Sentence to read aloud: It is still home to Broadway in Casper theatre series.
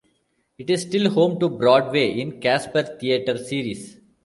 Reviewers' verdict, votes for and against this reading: accepted, 2, 0